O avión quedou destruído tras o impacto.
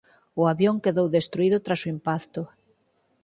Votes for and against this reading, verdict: 4, 6, rejected